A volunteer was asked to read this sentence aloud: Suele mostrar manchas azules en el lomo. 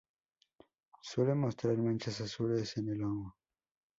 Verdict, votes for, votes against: accepted, 2, 0